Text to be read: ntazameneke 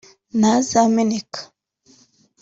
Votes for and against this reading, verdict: 2, 1, accepted